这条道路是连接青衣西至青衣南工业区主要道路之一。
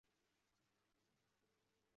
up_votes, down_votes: 0, 3